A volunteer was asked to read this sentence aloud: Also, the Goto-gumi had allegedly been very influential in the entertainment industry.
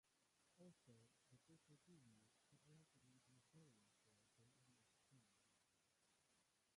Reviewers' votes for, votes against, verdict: 0, 2, rejected